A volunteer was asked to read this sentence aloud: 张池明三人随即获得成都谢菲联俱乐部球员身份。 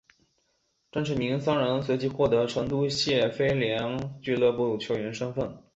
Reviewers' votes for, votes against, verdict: 5, 0, accepted